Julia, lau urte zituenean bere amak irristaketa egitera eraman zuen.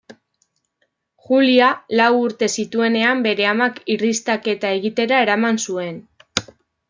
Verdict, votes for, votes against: accepted, 2, 0